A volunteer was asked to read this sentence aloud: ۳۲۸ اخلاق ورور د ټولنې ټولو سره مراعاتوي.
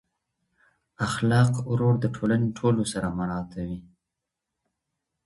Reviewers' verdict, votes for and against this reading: rejected, 0, 2